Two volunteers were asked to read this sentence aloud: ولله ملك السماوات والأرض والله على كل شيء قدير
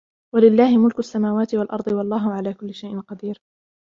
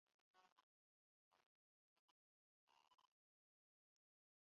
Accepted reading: first